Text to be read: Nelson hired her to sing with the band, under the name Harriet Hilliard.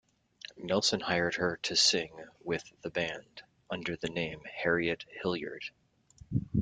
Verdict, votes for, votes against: accepted, 2, 0